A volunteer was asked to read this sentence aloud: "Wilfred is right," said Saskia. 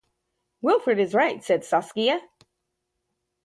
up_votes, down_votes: 2, 0